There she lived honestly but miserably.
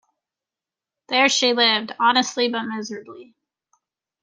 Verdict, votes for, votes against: accepted, 2, 0